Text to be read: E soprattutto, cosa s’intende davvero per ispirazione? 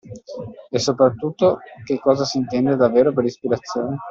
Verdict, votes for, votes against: rejected, 1, 2